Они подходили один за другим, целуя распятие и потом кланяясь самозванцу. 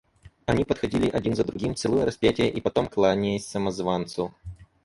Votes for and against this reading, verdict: 2, 2, rejected